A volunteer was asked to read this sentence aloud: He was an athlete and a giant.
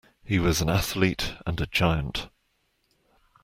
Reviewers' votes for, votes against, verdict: 2, 0, accepted